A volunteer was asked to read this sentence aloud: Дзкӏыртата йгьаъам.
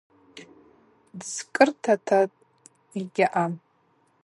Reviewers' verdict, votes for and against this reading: accepted, 4, 0